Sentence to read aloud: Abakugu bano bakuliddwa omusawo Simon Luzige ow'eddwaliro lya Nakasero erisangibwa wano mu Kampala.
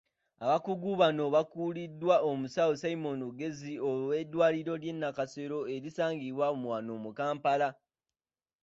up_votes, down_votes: 2, 1